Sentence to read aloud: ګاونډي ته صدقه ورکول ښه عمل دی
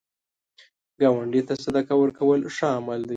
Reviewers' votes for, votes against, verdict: 2, 0, accepted